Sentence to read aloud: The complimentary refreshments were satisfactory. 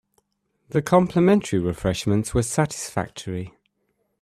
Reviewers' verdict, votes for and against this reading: accepted, 2, 0